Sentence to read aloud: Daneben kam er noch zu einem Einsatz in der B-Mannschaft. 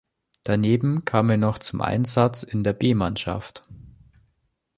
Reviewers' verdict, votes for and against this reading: rejected, 1, 2